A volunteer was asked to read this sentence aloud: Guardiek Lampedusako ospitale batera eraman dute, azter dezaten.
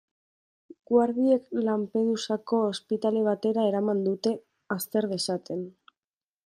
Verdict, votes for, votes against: accepted, 2, 0